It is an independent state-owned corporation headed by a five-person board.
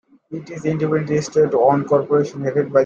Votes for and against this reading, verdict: 0, 2, rejected